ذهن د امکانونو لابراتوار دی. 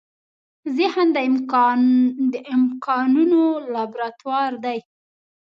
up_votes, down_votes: 1, 2